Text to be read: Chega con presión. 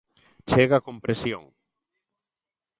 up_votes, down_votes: 2, 0